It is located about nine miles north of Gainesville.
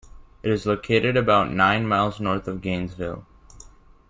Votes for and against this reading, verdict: 2, 0, accepted